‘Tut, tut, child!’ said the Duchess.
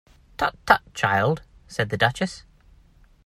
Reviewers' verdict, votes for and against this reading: accepted, 2, 0